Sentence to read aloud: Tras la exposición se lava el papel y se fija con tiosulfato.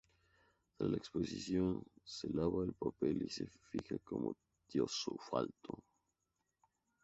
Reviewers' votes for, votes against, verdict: 0, 2, rejected